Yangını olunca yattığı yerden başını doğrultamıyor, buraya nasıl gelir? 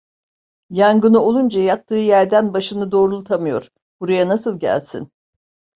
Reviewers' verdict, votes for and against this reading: rejected, 0, 2